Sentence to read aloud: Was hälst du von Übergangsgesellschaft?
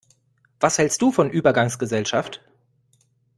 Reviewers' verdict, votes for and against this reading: rejected, 1, 2